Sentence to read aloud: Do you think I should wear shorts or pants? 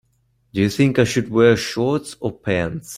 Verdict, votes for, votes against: accepted, 2, 0